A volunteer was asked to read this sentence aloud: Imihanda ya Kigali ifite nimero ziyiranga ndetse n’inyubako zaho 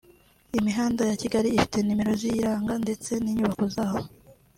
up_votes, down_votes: 2, 0